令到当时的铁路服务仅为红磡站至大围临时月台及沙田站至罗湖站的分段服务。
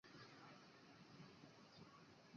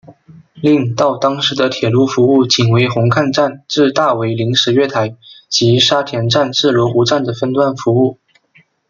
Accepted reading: second